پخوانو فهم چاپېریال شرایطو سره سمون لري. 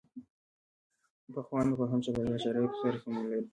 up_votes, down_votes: 1, 2